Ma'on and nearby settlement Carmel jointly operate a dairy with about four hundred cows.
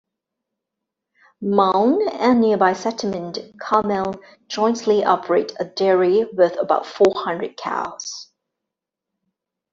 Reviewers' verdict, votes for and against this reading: accepted, 2, 0